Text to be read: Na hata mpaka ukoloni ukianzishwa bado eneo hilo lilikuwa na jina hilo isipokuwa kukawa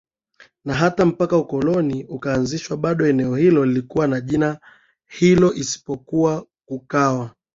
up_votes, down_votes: 2, 2